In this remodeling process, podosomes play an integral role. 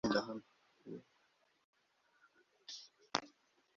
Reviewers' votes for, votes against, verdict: 0, 2, rejected